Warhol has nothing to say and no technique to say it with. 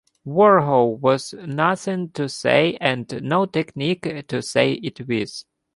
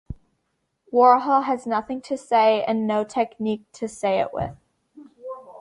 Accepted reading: second